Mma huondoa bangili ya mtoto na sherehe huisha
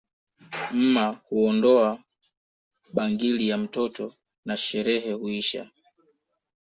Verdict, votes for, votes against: accepted, 2, 0